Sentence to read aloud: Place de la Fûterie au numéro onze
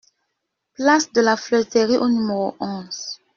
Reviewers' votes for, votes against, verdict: 1, 2, rejected